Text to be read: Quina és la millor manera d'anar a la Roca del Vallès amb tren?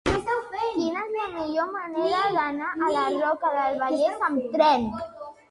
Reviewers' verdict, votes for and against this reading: rejected, 2, 3